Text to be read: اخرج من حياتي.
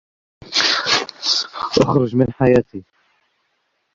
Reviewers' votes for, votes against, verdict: 1, 2, rejected